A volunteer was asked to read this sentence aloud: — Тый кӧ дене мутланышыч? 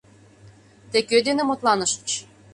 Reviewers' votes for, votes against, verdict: 2, 0, accepted